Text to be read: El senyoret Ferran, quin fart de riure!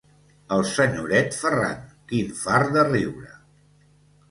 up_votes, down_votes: 3, 0